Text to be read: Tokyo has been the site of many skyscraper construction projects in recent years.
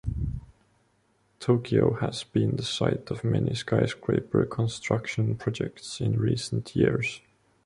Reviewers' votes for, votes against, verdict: 2, 0, accepted